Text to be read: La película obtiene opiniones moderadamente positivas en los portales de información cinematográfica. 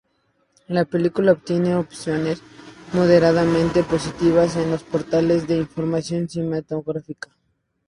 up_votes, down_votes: 2, 2